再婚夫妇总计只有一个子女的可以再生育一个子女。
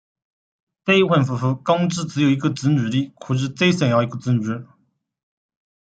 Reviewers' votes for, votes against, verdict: 1, 2, rejected